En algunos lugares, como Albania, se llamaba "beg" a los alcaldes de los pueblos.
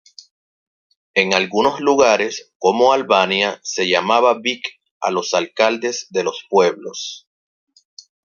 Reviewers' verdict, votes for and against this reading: rejected, 0, 2